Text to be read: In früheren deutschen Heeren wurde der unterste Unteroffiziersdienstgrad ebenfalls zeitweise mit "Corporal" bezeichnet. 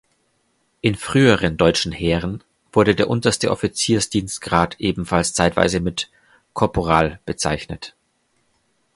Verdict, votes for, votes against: rejected, 1, 2